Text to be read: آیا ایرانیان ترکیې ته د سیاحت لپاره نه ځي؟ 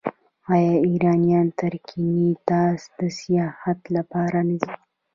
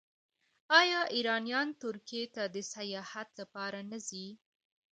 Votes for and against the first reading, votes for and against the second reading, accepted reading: 0, 2, 2, 0, second